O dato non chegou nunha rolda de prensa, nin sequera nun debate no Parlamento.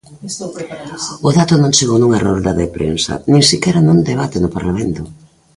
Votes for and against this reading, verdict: 0, 2, rejected